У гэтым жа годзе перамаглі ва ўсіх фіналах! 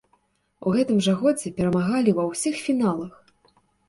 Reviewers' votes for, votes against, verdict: 1, 2, rejected